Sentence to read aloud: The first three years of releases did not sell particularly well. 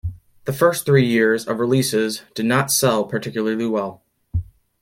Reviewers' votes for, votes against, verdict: 2, 0, accepted